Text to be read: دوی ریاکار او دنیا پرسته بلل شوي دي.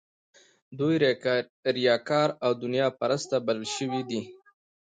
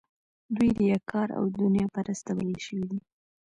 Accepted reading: first